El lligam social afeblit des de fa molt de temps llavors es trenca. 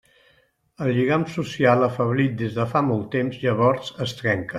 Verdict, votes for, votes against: accepted, 2, 0